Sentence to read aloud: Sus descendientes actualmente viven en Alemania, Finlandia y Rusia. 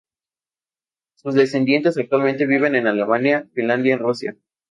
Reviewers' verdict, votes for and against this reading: accepted, 2, 0